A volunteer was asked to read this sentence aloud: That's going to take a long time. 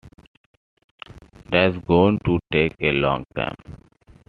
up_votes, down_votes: 2, 0